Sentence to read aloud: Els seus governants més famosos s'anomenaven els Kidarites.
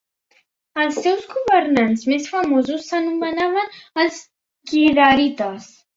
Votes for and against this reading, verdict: 2, 0, accepted